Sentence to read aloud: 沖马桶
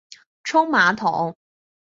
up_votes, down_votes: 3, 0